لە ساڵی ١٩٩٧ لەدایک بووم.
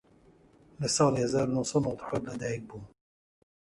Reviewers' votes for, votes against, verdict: 0, 2, rejected